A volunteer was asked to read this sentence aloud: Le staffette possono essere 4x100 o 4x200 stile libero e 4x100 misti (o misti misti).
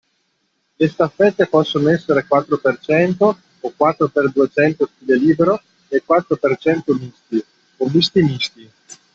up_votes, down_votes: 0, 2